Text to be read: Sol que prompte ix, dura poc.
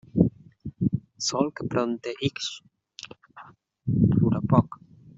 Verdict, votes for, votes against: rejected, 0, 2